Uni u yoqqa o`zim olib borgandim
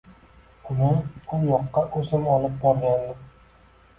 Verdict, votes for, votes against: accepted, 2, 1